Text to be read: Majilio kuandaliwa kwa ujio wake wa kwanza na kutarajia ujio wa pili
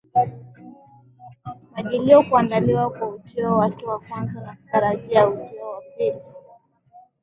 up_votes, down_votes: 2, 1